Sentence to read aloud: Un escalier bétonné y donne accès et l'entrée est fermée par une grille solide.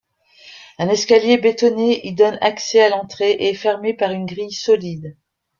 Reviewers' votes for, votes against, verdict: 0, 2, rejected